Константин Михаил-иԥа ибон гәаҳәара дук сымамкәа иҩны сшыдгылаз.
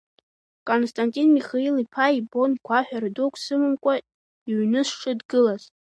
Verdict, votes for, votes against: rejected, 1, 2